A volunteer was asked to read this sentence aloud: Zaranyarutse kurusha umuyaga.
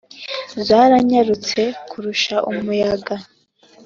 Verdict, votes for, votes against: accepted, 2, 0